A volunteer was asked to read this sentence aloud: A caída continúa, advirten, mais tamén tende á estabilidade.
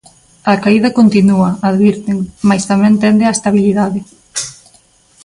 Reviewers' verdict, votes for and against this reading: accepted, 2, 0